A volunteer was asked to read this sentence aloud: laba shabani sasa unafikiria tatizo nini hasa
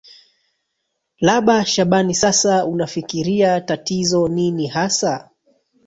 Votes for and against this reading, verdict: 1, 2, rejected